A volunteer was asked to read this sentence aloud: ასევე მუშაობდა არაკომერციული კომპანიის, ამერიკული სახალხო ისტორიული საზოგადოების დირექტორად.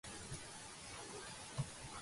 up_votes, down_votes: 0, 2